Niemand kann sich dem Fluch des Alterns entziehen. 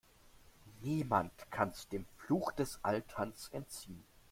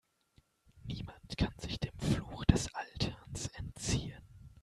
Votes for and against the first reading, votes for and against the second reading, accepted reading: 1, 2, 2, 0, second